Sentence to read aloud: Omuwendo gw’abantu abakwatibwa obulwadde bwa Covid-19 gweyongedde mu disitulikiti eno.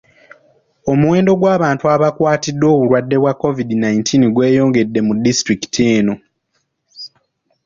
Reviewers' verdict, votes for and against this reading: rejected, 0, 2